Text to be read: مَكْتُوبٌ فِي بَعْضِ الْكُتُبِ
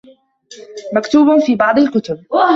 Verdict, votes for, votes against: rejected, 1, 2